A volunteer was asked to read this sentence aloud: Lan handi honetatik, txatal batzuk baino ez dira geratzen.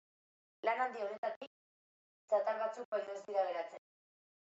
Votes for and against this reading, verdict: 1, 2, rejected